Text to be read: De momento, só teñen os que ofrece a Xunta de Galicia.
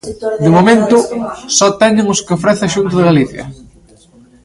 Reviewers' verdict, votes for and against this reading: accepted, 2, 0